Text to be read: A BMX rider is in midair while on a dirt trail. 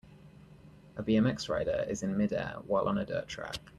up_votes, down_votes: 1, 2